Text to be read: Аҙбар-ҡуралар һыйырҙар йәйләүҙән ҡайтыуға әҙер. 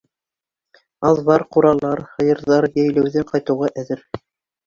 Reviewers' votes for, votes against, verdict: 2, 0, accepted